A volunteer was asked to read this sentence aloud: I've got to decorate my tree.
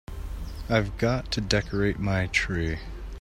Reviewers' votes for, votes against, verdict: 2, 0, accepted